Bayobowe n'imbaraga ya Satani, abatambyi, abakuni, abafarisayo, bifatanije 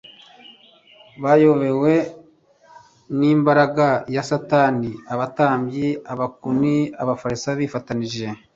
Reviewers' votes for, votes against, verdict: 1, 2, rejected